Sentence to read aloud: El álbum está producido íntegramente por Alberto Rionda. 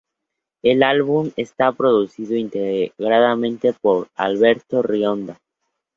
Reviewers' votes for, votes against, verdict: 0, 2, rejected